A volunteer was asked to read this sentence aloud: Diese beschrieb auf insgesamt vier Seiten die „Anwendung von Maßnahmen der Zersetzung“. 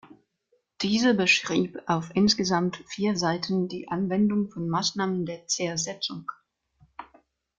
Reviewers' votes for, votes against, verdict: 2, 0, accepted